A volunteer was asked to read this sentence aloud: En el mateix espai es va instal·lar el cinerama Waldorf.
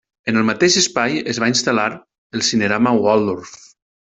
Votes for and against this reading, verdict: 2, 0, accepted